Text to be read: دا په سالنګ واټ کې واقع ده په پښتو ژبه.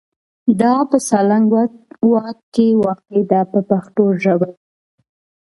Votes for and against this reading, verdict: 1, 2, rejected